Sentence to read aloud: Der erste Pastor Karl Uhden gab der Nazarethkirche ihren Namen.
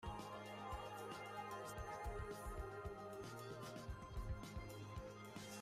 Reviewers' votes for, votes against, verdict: 0, 2, rejected